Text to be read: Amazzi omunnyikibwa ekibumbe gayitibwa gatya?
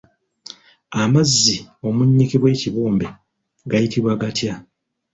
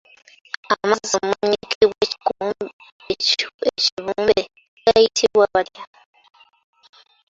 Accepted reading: first